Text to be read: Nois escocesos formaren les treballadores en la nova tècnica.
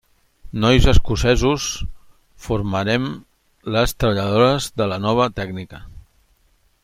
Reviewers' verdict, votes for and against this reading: rejected, 0, 2